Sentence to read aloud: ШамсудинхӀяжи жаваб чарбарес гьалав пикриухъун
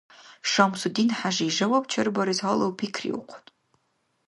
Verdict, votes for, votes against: accepted, 2, 0